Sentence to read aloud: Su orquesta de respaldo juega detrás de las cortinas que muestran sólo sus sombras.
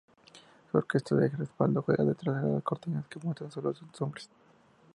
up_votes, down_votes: 0, 2